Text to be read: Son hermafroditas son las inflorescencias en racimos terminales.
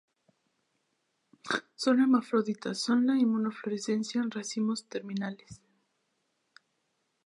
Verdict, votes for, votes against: rejected, 0, 2